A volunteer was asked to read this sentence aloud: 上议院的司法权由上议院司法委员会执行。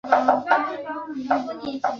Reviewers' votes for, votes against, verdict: 0, 4, rejected